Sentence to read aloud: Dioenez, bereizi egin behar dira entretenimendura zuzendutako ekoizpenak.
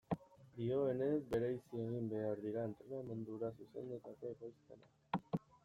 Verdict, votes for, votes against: rejected, 1, 2